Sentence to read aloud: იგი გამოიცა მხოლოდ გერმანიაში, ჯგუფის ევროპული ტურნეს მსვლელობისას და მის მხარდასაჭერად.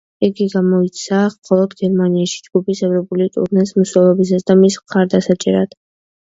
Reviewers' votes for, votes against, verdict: 0, 2, rejected